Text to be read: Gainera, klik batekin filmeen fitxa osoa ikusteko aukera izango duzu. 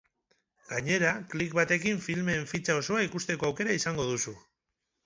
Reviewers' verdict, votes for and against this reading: accepted, 6, 0